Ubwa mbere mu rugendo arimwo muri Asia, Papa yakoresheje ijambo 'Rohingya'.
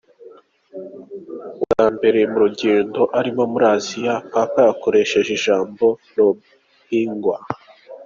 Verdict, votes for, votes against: accepted, 2, 0